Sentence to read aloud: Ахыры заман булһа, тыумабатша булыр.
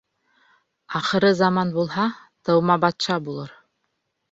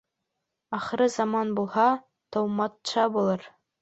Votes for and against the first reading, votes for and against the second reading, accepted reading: 2, 0, 1, 2, first